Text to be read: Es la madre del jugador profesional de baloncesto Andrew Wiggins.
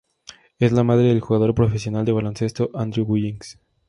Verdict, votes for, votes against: accepted, 2, 0